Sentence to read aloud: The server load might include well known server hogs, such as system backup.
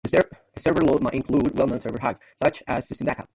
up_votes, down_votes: 0, 2